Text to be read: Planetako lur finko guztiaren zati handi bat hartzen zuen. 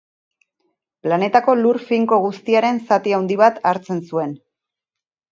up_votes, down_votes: 0, 2